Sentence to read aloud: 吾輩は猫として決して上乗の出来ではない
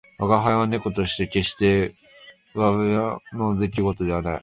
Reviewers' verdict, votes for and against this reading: rejected, 0, 3